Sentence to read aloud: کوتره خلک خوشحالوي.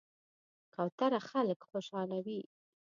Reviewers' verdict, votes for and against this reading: accepted, 2, 0